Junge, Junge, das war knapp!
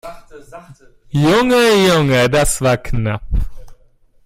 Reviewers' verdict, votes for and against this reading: rejected, 1, 2